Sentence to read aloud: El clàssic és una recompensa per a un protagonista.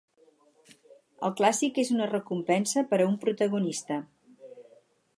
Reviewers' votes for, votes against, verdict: 4, 0, accepted